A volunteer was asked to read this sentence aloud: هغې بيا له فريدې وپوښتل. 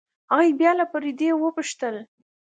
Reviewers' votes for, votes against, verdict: 2, 0, accepted